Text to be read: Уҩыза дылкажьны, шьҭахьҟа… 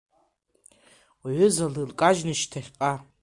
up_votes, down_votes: 0, 2